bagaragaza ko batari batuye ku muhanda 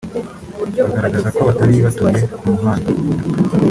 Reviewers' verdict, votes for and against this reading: rejected, 0, 3